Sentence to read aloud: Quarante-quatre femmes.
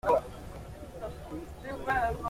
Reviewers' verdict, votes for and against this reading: rejected, 0, 2